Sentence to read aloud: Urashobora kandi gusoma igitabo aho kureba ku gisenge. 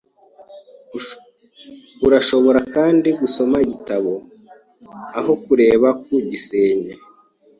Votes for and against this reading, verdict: 1, 2, rejected